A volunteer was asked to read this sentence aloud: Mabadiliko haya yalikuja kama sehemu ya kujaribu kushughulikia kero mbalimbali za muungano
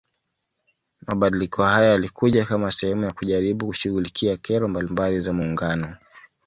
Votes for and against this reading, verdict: 1, 2, rejected